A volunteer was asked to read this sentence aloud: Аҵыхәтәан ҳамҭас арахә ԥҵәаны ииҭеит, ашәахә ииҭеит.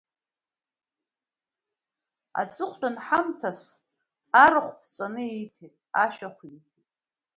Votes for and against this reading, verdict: 2, 1, accepted